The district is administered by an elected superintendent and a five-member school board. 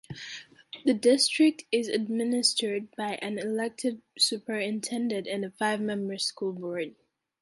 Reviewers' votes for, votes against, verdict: 2, 0, accepted